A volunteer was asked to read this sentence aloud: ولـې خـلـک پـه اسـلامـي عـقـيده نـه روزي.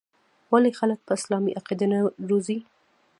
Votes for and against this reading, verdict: 0, 2, rejected